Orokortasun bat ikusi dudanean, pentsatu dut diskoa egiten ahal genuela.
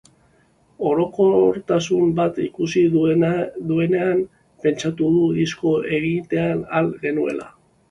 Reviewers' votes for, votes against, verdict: 0, 2, rejected